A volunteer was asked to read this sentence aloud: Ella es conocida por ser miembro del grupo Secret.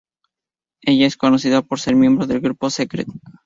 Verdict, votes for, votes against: accepted, 2, 0